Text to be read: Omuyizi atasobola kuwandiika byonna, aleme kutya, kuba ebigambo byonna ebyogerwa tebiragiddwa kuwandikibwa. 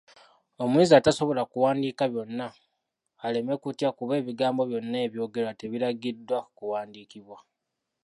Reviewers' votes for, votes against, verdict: 1, 2, rejected